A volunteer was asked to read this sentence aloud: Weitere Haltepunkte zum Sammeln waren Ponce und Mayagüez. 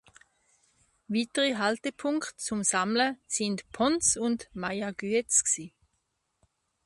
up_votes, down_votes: 0, 2